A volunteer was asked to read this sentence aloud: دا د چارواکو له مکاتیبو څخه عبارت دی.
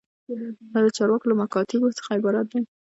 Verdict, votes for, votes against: rejected, 0, 2